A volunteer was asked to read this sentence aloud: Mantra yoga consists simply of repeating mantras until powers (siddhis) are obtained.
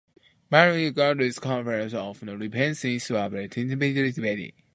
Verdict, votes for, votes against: rejected, 0, 2